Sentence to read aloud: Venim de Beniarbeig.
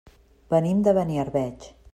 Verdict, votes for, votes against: accepted, 3, 0